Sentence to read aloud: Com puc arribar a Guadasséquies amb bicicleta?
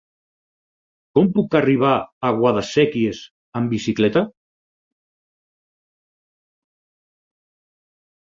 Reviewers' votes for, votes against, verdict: 6, 0, accepted